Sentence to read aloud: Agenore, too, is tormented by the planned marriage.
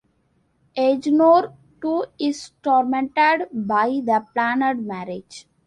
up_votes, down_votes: 1, 2